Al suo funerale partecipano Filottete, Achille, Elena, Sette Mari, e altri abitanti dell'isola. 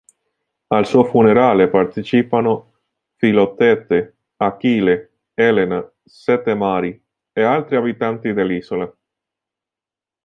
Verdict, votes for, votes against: rejected, 1, 2